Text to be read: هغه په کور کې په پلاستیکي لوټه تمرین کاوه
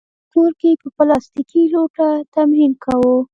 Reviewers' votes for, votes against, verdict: 1, 2, rejected